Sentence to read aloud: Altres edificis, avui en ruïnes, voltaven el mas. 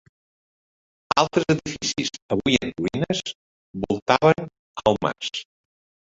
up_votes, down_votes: 1, 2